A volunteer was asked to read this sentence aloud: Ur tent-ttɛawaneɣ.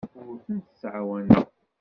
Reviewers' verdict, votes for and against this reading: rejected, 1, 2